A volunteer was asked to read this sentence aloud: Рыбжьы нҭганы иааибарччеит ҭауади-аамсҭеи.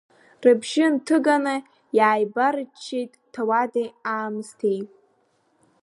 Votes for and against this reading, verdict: 0, 2, rejected